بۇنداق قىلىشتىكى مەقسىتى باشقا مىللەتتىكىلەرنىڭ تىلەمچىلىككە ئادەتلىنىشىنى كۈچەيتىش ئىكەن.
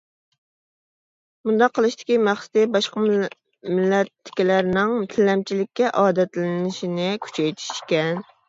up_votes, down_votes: 1, 2